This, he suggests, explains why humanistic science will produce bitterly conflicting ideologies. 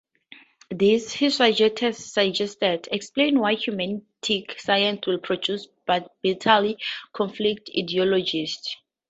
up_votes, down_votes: 0, 2